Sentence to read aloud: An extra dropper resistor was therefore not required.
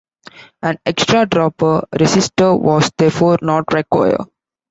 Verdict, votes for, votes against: rejected, 0, 2